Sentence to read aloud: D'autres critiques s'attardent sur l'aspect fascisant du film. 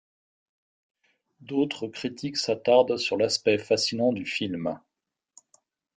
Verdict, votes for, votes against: rejected, 1, 2